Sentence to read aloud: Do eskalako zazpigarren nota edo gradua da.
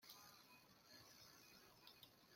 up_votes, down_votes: 0, 2